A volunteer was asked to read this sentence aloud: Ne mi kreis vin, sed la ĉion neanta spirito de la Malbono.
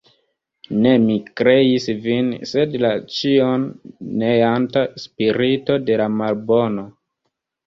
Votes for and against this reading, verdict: 2, 0, accepted